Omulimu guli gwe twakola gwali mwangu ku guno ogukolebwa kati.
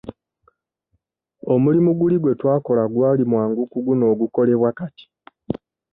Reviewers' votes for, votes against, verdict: 2, 0, accepted